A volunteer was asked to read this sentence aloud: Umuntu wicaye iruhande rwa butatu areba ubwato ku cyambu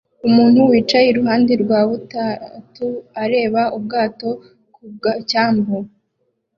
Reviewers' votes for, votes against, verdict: 0, 2, rejected